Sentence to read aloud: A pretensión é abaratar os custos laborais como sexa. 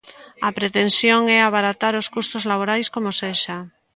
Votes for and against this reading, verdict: 2, 0, accepted